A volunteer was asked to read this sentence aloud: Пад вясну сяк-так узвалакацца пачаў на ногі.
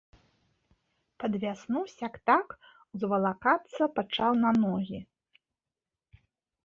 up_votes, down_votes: 3, 0